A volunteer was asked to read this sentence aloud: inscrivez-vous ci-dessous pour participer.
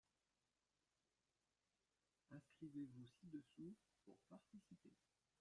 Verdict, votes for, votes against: rejected, 0, 2